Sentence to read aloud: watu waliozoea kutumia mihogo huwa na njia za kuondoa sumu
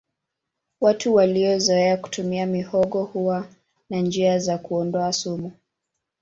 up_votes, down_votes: 2, 1